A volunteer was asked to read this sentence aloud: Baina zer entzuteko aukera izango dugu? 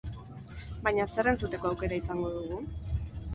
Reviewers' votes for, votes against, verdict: 4, 0, accepted